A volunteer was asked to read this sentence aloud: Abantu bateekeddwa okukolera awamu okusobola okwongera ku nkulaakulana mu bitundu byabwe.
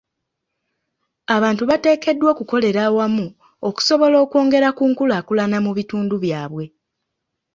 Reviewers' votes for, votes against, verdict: 2, 0, accepted